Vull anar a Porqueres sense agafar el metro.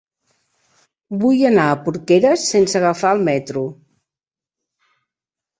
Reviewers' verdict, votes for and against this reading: accepted, 3, 0